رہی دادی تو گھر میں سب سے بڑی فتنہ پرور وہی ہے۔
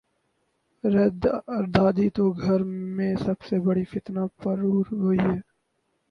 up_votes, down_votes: 0, 10